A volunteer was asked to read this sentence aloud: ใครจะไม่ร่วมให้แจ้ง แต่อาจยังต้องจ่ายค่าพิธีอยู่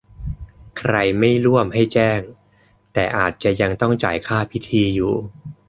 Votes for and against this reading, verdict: 0, 2, rejected